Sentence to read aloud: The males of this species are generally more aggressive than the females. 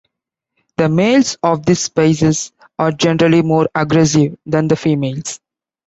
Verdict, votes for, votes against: accepted, 2, 1